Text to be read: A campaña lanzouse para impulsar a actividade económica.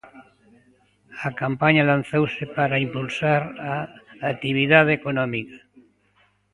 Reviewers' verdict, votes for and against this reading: accepted, 2, 0